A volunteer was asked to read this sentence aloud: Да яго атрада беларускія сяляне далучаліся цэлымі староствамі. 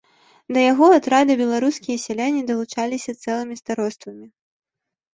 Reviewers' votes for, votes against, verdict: 2, 0, accepted